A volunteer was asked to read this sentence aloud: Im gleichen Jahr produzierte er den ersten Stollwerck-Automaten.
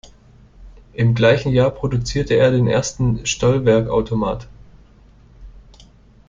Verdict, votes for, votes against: rejected, 1, 2